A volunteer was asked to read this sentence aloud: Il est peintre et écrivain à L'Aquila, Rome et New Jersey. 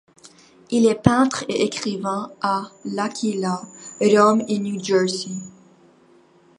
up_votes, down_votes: 2, 0